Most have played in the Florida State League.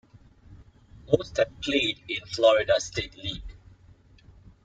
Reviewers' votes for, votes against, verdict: 0, 2, rejected